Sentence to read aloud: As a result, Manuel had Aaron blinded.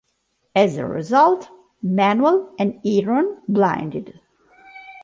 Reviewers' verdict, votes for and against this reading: rejected, 0, 2